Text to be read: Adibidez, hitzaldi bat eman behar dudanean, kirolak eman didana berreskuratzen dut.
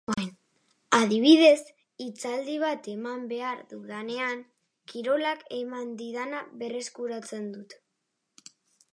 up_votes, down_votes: 2, 0